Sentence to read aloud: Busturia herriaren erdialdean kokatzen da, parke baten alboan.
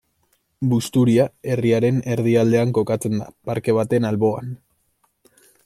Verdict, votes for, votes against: accepted, 2, 0